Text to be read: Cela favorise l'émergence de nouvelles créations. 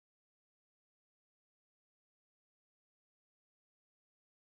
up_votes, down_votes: 0, 4